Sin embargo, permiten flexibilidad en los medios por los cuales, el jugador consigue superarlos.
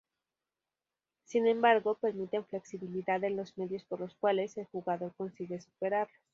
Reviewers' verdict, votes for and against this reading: rejected, 0, 2